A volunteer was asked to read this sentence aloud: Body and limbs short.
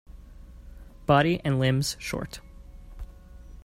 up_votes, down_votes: 2, 0